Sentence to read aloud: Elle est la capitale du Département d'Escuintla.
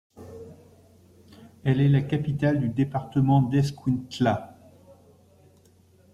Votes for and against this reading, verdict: 2, 0, accepted